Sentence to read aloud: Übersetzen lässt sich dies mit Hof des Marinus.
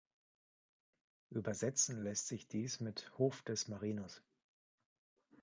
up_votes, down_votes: 2, 1